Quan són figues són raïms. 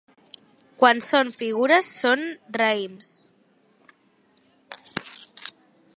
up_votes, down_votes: 0, 2